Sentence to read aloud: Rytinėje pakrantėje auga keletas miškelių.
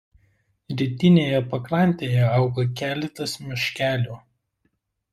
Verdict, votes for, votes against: accepted, 2, 0